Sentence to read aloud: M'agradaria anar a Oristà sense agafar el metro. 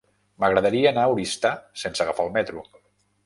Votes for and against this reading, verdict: 1, 2, rejected